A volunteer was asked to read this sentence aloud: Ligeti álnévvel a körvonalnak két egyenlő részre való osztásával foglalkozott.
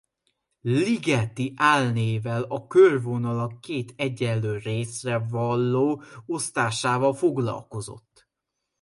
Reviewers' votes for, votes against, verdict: 0, 2, rejected